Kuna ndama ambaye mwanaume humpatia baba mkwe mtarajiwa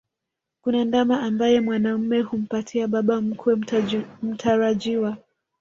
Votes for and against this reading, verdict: 1, 3, rejected